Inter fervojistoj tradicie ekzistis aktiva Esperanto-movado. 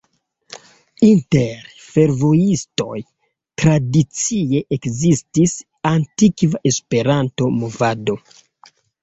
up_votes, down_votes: 1, 2